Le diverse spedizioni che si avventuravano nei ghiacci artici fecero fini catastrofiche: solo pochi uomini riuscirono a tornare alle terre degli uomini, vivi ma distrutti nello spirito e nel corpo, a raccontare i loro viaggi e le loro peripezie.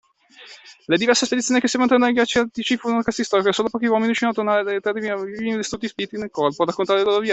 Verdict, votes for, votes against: rejected, 1, 2